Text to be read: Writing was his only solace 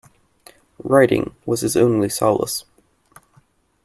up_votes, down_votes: 2, 0